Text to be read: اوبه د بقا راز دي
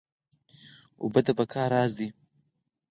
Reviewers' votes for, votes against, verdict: 4, 0, accepted